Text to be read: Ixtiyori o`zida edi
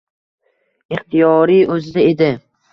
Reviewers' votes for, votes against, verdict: 2, 0, accepted